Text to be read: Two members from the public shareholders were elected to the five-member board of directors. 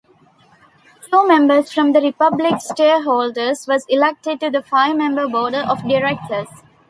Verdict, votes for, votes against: rejected, 0, 2